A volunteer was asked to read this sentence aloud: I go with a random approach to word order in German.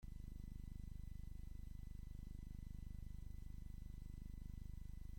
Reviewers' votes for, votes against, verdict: 0, 2, rejected